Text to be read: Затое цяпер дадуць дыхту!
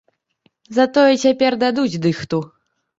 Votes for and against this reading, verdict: 3, 0, accepted